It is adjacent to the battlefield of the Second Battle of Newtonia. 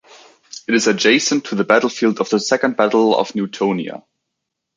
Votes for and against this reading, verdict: 2, 0, accepted